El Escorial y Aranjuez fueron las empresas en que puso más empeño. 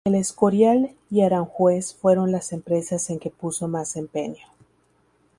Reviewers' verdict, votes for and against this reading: accepted, 2, 0